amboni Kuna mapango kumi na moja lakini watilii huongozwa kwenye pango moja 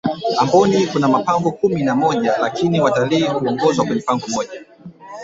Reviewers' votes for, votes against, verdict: 1, 2, rejected